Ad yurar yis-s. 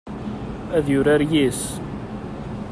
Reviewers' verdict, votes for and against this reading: accepted, 2, 0